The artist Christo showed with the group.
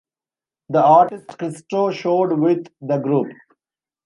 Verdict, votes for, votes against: accepted, 2, 0